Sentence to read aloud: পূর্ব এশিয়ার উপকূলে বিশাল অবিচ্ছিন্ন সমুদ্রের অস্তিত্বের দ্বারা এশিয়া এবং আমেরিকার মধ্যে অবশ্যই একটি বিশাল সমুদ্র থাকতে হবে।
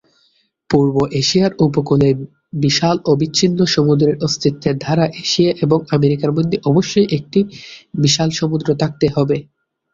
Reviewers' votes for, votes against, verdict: 3, 3, rejected